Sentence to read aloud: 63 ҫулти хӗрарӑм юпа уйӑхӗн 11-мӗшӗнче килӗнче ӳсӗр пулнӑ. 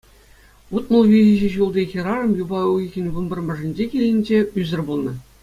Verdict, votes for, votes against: rejected, 0, 2